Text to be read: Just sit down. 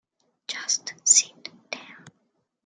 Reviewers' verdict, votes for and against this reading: accepted, 2, 1